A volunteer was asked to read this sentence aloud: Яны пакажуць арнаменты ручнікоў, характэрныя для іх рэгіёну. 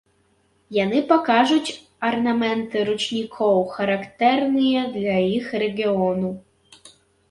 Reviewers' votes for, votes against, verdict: 1, 2, rejected